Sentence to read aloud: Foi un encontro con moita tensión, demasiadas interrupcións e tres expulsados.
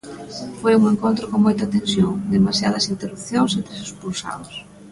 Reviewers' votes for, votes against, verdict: 2, 0, accepted